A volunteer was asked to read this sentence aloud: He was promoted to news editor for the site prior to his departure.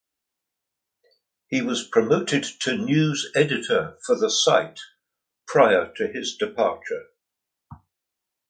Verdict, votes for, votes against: accepted, 2, 0